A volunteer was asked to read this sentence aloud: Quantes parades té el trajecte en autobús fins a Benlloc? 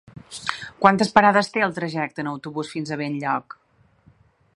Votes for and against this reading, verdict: 4, 0, accepted